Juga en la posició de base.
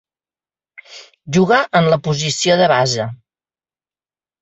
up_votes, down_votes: 3, 0